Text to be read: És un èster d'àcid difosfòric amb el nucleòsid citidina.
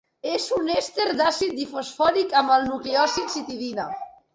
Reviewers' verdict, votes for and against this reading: accepted, 2, 0